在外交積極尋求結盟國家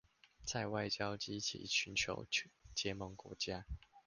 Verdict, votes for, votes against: rejected, 0, 2